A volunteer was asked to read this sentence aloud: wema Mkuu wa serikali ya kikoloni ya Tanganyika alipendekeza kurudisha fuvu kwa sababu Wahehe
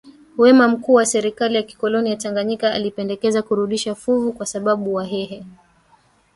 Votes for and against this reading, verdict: 2, 1, accepted